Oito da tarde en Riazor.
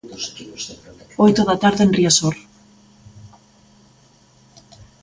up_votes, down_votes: 3, 2